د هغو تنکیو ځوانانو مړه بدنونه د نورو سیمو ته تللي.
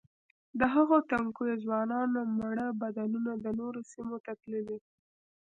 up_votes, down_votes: 1, 2